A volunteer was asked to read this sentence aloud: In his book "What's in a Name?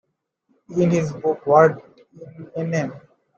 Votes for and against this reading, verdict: 0, 2, rejected